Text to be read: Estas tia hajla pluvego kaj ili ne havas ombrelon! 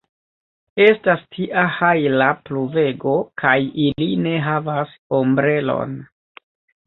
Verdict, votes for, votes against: rejected, 1, 3